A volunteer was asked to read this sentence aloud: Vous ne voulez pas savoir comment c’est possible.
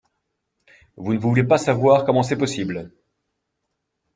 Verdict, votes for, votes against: accepted, 2, 0